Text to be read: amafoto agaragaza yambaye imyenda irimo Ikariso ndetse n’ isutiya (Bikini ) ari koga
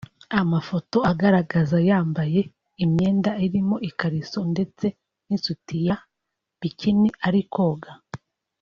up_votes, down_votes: 2, 0